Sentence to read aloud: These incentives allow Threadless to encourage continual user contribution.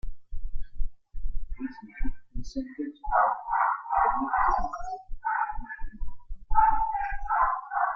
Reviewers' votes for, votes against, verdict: 0, 2, rejected